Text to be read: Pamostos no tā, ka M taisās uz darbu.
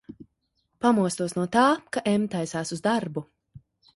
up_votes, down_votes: 2, 1